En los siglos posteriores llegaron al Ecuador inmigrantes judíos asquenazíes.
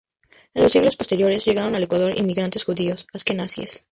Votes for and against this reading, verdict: 2, 0, accepted